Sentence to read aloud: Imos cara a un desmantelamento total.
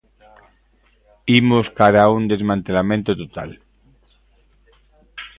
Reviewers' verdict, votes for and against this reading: accepted, 2, 0